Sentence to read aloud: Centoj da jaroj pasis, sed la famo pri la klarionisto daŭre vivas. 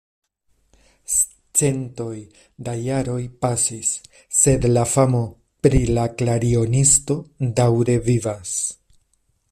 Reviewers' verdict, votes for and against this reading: accepted, 2, 1